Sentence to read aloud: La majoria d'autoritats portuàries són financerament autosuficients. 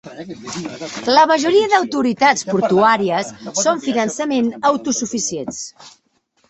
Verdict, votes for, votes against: rejected, 1, 2